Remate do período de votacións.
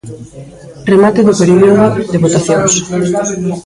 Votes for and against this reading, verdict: 1, 2, rejected